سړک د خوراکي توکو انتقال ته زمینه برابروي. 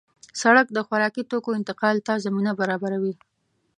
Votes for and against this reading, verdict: 2, 0, accepted